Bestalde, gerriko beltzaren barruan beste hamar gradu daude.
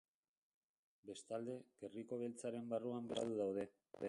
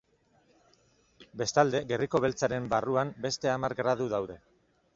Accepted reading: second